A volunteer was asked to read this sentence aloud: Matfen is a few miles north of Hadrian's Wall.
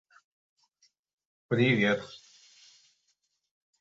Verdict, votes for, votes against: rejected, 0, 2